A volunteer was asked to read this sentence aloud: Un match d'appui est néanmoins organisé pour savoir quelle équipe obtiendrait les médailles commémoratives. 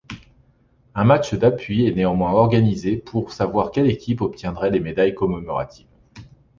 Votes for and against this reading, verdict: 0, 2, rejected